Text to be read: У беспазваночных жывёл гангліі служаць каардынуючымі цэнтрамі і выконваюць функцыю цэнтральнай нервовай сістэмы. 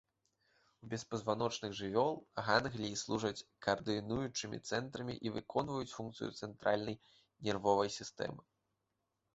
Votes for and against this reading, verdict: 2, 0, accepted